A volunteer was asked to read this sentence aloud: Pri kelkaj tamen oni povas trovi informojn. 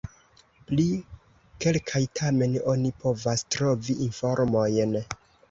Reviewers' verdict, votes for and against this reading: rejected, 1, 2